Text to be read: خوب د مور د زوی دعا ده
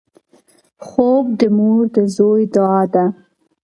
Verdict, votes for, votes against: accepted, 4, 0